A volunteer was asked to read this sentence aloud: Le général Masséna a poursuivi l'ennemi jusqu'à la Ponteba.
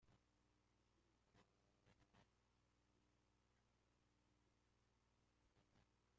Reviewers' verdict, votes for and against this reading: rejected, 0, 2